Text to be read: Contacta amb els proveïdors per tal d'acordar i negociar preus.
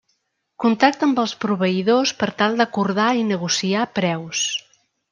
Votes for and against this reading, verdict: 2, 0, accepted